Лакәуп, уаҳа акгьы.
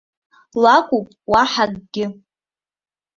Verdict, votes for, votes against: accepted, 3, 0